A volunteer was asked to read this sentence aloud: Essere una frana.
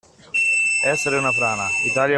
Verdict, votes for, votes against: rejected, 1, 2